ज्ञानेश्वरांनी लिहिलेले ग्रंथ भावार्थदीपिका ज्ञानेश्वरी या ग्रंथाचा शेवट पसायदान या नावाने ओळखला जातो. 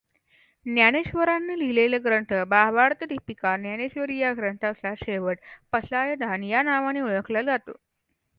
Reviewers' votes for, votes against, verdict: 2, 0, accepted